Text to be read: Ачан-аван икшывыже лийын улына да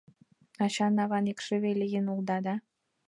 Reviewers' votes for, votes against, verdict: 1, 2, rejected